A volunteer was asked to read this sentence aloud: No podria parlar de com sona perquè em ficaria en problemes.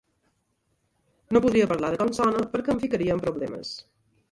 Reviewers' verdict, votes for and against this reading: rejected, 0, 2